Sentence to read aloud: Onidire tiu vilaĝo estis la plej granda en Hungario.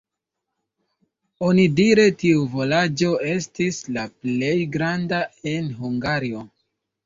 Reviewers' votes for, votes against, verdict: 1, 2, rejected